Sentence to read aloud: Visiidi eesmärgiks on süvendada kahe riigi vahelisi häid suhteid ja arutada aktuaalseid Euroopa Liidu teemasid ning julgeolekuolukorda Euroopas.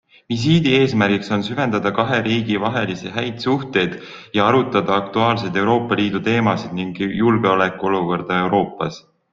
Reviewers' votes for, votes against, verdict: 2, 0, accepted